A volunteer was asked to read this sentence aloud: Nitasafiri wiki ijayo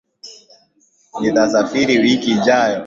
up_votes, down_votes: 10, 0